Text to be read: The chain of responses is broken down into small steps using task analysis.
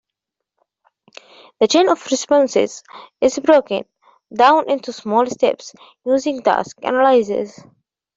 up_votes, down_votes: 0, 2